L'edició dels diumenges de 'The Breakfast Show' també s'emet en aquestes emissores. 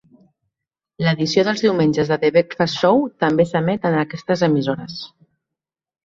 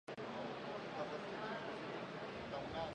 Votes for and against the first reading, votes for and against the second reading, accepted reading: 2, 0, 1, 4, first